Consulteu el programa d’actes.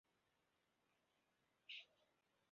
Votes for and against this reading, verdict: 1, 2, rejected